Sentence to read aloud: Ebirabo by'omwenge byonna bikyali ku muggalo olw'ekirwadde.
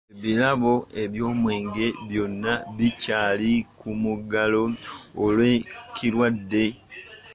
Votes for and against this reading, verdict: 2, 1, accepted